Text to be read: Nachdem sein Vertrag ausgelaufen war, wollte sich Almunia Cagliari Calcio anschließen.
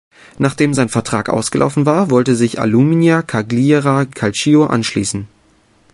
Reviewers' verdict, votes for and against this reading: rejected, 0, 2